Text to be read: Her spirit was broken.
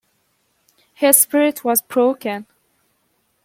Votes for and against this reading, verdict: 2, 0, accepted